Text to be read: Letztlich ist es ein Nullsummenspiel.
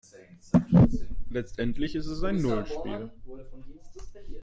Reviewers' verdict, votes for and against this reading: rejected, 0, 2